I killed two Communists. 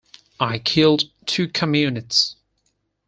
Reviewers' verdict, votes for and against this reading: rejected, 2, 4